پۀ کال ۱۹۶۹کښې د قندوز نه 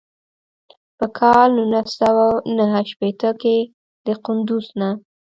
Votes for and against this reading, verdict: 0, 2, rejected